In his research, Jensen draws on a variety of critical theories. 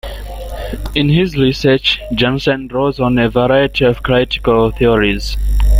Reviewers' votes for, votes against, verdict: 2, 1, accepted